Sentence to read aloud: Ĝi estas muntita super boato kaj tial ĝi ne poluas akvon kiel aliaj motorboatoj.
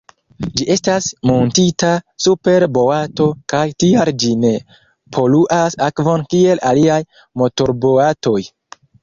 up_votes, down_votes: 2, 0